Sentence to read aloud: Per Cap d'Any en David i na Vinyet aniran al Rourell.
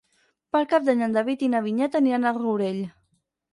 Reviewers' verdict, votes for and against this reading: rejected, 2, 4